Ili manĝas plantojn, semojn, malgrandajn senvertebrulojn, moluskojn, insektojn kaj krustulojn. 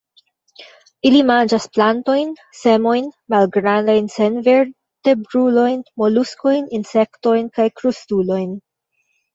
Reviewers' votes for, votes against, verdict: 2, 1, accepted